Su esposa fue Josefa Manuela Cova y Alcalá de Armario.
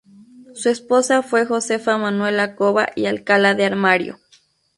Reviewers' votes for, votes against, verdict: 0, 2, rejected